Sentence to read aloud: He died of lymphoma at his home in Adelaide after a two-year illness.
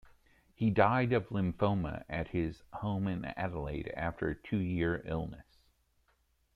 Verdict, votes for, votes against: rejected, 1, 2